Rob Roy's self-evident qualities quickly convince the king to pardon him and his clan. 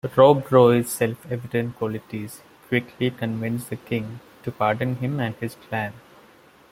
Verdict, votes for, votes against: accepted, 2, 0